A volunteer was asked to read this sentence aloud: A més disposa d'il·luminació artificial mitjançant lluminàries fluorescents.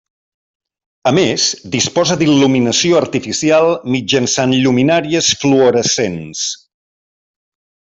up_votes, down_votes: 3, 0